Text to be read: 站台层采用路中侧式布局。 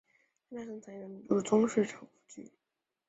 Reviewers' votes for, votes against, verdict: 0, 4, rejected